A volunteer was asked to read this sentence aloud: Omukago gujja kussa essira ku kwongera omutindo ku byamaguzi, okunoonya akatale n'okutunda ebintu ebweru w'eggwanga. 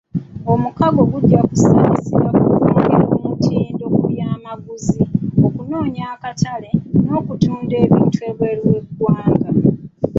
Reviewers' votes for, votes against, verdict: 0, 2, rejected